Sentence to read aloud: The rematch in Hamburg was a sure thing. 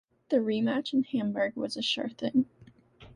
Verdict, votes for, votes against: accepted, 2, 0